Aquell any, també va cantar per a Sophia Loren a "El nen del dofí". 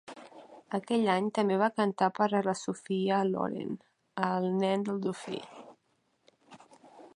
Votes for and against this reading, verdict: 0, 2, rejected